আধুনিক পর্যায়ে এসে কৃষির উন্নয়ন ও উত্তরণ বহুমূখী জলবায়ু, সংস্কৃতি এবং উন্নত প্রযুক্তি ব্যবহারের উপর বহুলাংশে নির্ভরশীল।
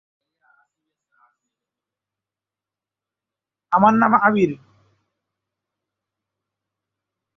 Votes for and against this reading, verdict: 0, 2, rejected